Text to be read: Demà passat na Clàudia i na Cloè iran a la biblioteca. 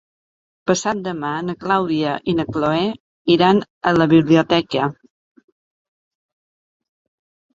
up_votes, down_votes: 1, 2